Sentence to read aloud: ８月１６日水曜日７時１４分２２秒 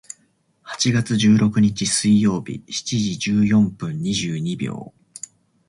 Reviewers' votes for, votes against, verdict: 0, 2, rejected